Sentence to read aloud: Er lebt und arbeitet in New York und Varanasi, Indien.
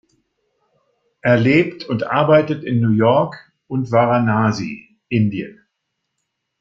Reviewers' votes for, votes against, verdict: 2, 0, accepted